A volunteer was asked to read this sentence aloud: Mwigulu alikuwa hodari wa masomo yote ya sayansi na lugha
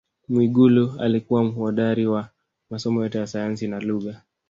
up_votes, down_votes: 1, 2